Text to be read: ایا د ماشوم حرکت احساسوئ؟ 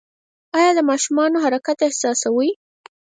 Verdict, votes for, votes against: rejected, 2, 4